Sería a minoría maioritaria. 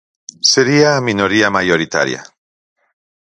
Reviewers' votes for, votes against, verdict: 4, 0, accepted